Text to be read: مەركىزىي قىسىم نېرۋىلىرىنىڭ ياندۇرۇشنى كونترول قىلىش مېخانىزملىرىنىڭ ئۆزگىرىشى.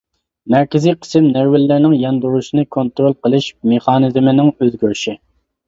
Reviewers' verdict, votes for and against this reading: rejected, 0, 2